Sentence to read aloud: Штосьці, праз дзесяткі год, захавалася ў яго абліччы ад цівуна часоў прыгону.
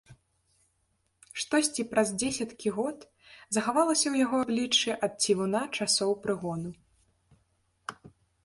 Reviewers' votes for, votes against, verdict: 0, 2, rejected